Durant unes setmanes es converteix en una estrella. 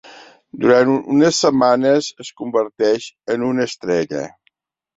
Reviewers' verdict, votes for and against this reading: accepted, 2, 1